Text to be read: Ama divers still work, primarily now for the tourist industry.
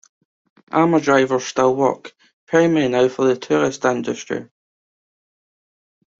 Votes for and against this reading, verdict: 1, 2, rejected